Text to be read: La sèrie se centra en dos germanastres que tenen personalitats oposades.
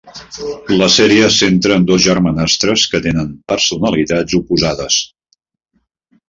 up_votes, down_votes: 0, 2